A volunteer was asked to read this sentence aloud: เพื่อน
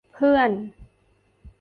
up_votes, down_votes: 2, 0